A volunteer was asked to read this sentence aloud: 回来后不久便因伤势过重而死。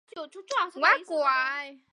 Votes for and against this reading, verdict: 0, 3, rejected